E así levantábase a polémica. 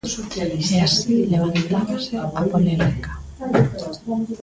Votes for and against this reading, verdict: 1, 2, rejected